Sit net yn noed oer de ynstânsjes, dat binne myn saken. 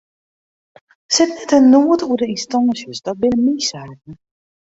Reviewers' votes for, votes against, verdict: 0, 2, rejected